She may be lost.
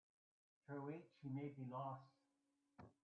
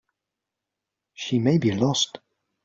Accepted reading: second